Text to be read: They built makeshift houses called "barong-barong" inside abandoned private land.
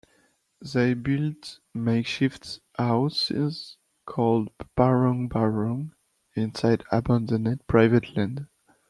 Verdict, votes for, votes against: rejected, 0, 2